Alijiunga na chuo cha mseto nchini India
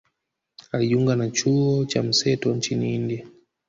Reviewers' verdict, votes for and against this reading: accepted, 2, 0